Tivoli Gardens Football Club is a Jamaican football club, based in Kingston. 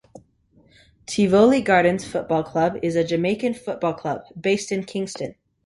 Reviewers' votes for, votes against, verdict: 2, 0, accepted